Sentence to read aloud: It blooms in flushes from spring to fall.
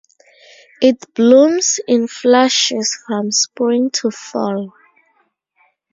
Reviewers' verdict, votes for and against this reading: accepted, 4, 0